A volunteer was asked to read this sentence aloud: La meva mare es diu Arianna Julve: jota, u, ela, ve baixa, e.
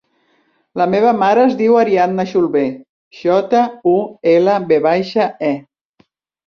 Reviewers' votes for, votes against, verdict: 2, 1, accepted